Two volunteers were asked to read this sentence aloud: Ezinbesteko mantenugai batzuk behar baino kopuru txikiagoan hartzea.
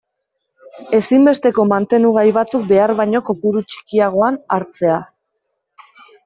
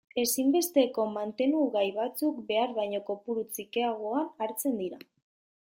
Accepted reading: first